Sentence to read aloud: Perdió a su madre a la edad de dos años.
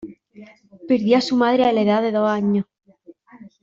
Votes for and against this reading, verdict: 1, 2, rejected